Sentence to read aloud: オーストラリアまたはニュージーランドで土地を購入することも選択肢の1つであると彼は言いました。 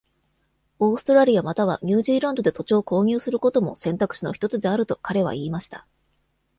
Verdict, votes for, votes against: rejected, 0, 2